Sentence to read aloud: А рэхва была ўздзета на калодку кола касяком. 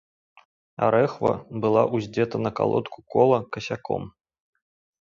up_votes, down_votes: 2, 0